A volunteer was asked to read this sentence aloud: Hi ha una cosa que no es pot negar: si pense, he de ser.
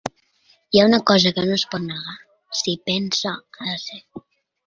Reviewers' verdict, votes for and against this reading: rejected, 1, 2